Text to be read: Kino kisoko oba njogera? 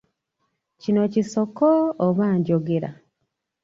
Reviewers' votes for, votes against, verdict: 0, 2, rejected